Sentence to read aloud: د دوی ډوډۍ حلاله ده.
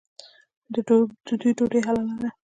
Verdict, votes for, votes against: rejected, 0, 2